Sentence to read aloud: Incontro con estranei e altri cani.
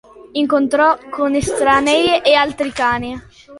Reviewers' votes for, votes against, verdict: 0, 2, rejected